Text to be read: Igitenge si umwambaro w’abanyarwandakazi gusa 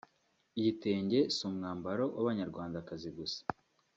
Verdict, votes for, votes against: accepted, 2, 0